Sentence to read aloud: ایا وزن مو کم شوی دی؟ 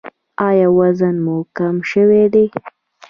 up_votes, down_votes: 1, 2